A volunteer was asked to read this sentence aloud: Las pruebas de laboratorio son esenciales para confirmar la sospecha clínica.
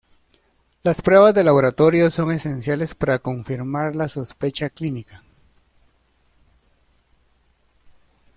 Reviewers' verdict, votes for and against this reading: accepted, 2, 0